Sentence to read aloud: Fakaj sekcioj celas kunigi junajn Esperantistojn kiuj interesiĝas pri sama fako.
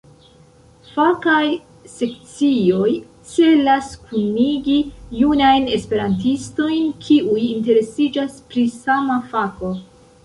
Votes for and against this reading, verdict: 2, 0, accepted